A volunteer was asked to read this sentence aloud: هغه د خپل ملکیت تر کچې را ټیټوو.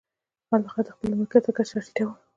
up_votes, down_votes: 1, 2